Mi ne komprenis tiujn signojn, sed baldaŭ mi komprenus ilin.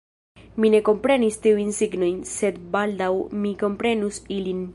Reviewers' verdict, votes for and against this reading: rejected, 0, 2